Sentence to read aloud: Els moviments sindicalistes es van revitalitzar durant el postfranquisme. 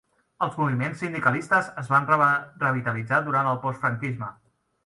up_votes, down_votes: 0, 2